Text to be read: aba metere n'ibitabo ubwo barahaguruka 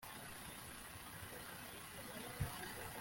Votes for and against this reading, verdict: 0, 2, rejected